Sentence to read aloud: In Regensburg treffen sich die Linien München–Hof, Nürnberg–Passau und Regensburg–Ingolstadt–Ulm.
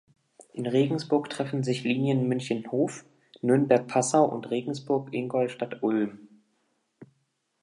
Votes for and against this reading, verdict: 0, 2, rejected